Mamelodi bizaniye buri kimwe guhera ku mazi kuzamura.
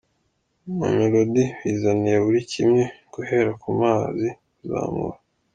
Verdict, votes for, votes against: accepted, 2, 1